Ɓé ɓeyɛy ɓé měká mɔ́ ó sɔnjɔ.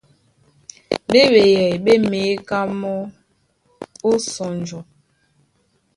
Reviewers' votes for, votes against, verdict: 1, 2, rejected